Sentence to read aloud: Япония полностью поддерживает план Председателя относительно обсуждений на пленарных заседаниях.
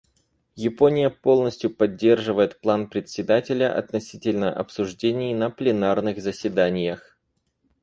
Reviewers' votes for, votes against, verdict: 4, 0, accepted